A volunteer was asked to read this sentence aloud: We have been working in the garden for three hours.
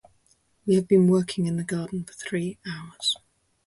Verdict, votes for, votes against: accepted, 2, 0